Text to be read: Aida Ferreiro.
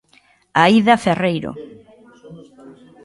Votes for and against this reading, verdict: 1, 2, rejected